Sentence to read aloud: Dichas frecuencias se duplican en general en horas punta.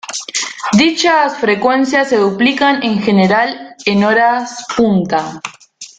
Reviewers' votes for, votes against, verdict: 2, 0, accepted